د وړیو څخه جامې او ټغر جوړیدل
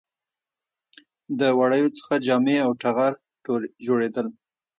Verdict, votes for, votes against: rejected, 1, 2